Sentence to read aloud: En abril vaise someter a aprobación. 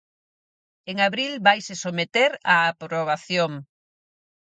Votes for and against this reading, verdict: 4, 0, accepted